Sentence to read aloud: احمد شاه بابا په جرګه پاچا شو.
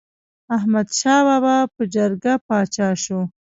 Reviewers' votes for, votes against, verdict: 0, 2, rejected